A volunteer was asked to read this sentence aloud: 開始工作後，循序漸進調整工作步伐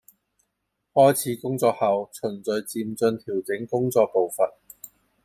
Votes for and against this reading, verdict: 1, 2, rejected